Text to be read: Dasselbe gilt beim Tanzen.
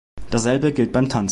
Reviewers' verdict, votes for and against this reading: rejected, 0, 2